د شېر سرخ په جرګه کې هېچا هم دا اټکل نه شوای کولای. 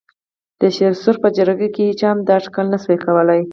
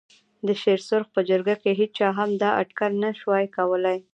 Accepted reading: second